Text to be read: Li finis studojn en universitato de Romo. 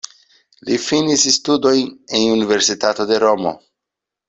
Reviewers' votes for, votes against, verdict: 1, 2, rejected